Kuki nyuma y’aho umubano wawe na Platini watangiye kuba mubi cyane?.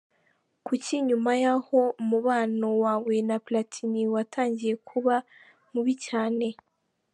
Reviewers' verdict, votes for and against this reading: accepted, 2, 1